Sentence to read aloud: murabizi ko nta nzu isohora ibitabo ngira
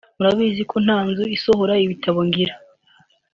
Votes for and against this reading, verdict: 2, 0, accepted